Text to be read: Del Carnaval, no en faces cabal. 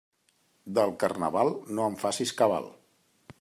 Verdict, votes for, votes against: rejected, 1, 2